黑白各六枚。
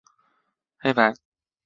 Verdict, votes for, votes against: rejected, 0, 4